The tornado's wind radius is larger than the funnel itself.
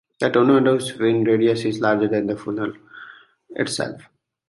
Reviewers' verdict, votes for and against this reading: accepted, 2, 0